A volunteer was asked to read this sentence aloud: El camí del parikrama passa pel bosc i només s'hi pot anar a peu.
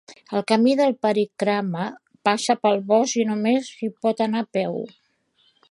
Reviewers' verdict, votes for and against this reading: rejected, 1, 2